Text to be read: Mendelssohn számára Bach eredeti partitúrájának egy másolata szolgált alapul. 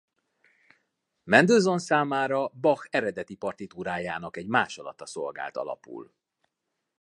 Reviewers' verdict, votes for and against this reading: accepted, 2, 0